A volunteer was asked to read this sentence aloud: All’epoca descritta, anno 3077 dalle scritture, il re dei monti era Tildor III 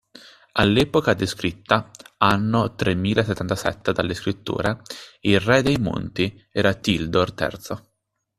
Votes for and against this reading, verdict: 0, 2, rejected